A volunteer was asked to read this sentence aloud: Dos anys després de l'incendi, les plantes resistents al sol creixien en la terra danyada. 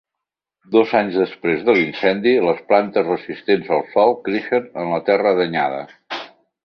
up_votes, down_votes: 1, 2